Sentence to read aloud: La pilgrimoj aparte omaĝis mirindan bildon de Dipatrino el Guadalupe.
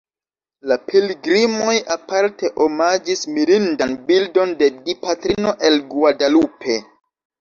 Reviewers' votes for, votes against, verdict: 2, 0, accepted